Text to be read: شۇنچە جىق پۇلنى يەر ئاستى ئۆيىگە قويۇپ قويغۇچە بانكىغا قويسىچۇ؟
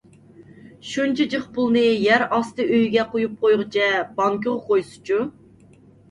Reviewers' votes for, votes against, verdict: 2, 0, accepted